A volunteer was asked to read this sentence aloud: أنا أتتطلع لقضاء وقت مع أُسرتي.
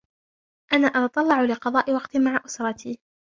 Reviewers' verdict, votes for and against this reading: rejected, 0, 2